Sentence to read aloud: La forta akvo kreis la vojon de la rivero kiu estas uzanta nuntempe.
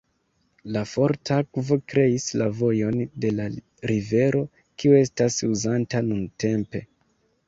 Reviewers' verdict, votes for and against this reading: accepted, 3, 2